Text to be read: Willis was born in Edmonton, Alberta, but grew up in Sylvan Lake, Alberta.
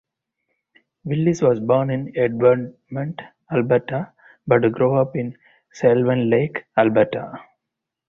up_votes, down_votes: 0, 4